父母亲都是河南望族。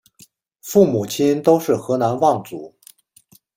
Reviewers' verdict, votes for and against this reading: accepted, 2, 0